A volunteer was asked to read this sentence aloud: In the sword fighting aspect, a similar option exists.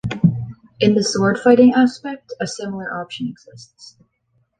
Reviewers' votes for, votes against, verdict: 1, 2, rejected